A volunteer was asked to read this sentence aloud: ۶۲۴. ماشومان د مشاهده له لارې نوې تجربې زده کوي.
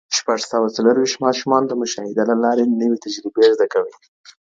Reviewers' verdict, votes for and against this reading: rejected, 0, 2